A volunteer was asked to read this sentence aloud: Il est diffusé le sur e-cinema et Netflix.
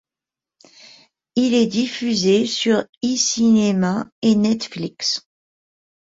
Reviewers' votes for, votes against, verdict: 1, 2, rejected